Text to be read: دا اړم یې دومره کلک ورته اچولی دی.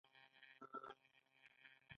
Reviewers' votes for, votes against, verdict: 1, 2, rejected